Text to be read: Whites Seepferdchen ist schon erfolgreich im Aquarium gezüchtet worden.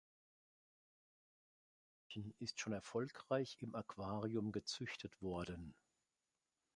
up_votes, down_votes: 0, 3